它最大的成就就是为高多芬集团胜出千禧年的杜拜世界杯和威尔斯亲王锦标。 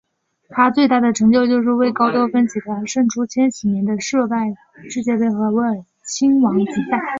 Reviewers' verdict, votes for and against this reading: rejected, 0, 3